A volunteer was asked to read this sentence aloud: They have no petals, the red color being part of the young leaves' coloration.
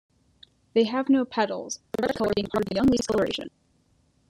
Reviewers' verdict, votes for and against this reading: rejected, 0, 2